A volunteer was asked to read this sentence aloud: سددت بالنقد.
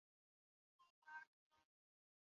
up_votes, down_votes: 0, 2